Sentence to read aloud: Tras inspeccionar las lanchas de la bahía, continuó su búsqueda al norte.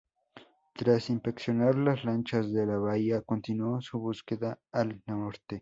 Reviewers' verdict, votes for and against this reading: rejected, 0, 2